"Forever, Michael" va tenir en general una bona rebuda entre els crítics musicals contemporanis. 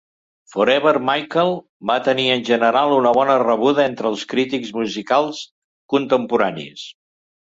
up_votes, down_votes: 2, 0